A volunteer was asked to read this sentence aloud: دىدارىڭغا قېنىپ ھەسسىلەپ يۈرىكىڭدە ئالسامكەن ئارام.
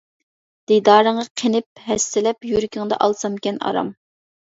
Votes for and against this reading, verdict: 2, 0, accepted